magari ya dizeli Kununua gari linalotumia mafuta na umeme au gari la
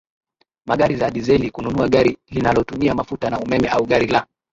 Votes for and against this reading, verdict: 0, 2, rejected